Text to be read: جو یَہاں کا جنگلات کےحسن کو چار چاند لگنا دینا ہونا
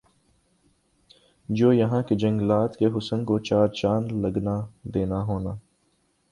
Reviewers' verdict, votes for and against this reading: accepted, 2, 0